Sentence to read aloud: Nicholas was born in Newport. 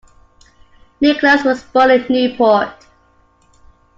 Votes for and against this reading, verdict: 1, 2, rejected